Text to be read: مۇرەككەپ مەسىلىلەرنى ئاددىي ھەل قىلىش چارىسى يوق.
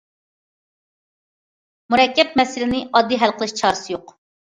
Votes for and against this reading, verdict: 0, 2, rejected